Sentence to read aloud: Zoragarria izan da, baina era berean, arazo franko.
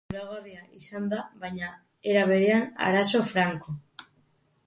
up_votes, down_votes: 1, 2